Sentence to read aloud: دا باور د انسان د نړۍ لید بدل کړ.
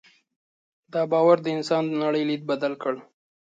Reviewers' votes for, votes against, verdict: 2, 0, accepted